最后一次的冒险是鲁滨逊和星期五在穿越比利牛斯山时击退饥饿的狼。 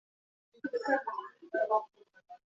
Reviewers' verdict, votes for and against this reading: rejected, 1, 4